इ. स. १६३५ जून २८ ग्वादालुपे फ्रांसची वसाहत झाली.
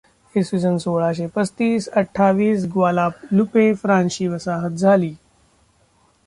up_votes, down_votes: 0, 2